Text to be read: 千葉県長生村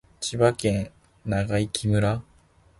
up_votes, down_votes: 2, 0